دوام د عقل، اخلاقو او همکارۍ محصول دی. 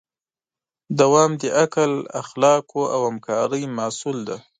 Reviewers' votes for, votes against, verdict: 2, 0, accepted